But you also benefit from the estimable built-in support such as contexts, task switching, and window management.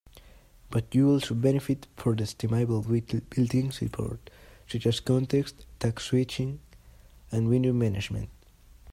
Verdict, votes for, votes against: accepted, 2, 1